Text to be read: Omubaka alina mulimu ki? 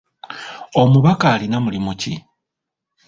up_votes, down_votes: 2, 0